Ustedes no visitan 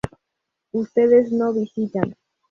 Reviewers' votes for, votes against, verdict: 2, 0, accepted